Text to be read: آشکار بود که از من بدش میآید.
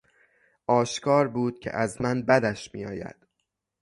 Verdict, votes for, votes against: accepted, 3, 0